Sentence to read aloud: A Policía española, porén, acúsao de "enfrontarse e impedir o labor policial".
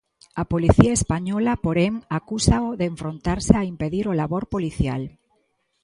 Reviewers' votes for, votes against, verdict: 0, 2, rejected